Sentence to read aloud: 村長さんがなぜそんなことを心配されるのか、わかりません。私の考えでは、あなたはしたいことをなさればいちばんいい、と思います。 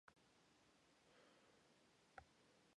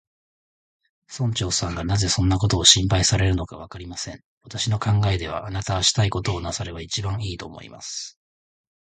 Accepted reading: second